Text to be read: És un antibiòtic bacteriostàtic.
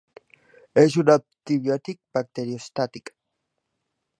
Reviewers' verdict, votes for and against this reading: rejected, 0, 4